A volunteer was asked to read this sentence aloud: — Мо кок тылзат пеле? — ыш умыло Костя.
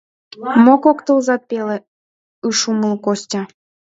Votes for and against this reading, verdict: 2, 1, accepted